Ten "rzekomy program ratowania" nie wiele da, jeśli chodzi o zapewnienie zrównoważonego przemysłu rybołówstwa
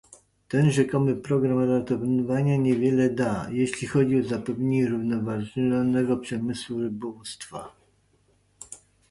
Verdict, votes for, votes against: rejected, 1, 2